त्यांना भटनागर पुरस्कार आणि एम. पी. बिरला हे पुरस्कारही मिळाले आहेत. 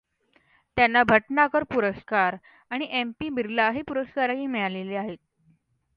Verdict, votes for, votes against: accepted, 2, 0